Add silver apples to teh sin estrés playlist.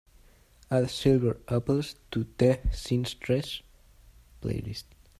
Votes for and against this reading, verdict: 0, 2, rejected